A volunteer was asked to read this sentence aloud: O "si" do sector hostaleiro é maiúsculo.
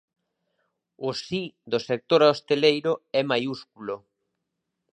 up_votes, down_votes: 0, 2